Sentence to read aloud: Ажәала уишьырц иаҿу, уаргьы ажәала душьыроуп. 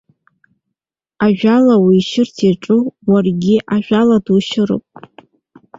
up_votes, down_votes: 2, 1